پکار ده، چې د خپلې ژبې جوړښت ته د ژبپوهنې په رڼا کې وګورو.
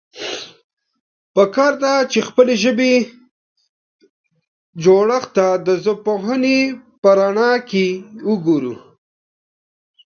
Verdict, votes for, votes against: rejected, 0, 2